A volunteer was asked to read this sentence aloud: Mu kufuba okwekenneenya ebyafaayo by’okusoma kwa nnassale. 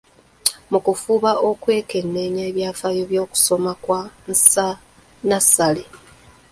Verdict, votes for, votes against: rejected, 0, 2